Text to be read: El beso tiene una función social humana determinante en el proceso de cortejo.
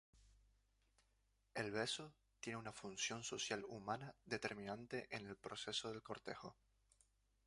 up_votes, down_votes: 2, 0